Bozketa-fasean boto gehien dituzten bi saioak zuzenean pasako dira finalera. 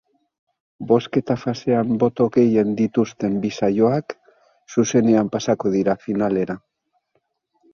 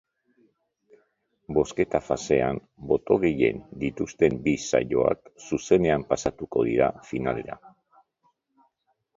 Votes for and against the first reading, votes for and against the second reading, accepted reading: 4, 0, 0, 2, first